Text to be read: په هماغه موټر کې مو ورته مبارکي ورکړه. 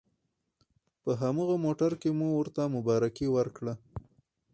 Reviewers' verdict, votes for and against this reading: rejected, 2, 2